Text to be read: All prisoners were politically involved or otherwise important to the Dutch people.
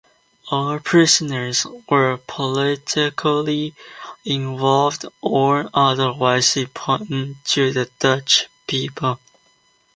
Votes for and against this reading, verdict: 2, 1, accepted